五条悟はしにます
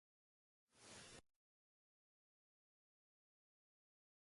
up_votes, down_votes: 1, 2